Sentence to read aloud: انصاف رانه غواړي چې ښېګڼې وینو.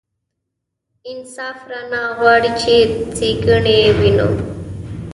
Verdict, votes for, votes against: rejected, 1, 2